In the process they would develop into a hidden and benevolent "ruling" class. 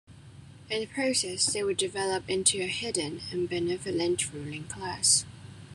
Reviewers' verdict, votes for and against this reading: accepted, 2, 0